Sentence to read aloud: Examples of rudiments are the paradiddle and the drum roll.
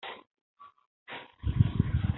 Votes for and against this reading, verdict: 0, 2, rejected